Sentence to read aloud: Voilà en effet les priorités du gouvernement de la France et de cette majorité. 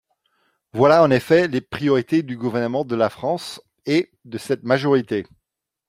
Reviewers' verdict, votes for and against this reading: accepted, 2, 0